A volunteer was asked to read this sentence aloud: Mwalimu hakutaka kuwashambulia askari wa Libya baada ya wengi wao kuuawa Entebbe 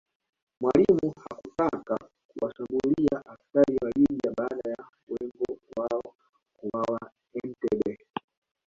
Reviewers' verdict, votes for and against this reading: rejected, 1, 2